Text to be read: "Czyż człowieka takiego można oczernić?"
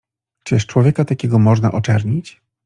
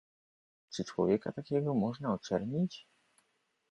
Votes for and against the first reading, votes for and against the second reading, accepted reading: 2, 0, 1, 2, first